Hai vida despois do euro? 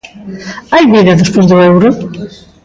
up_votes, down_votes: 1, 2